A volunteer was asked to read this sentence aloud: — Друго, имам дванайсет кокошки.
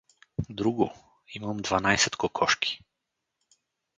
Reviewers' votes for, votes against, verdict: 4, 0, accepted